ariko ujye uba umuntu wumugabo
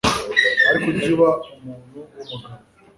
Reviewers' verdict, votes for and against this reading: rejected, 1, 2